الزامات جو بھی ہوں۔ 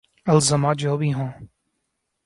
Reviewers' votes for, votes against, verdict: 1, 2, rejected